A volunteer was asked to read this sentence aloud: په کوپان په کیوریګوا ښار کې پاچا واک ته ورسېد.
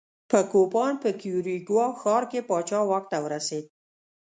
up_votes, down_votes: 2, 0